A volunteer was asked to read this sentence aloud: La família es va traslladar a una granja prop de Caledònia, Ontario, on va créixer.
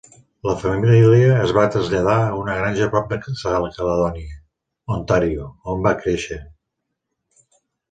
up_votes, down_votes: 0, 2